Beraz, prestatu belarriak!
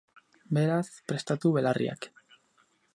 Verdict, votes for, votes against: accepted, 4, 0